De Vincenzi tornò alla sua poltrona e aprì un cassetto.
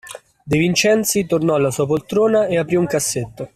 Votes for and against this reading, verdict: 2, 0, accepted